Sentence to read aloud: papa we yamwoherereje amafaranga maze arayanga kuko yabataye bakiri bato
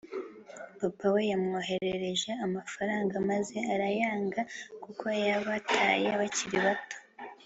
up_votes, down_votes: 3, 0